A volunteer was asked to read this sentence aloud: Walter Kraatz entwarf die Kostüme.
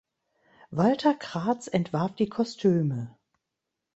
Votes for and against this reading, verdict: 2, 0, accepted